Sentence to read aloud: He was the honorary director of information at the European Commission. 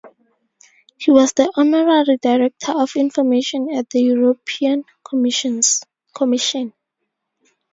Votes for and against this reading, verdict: 0, 4, rejected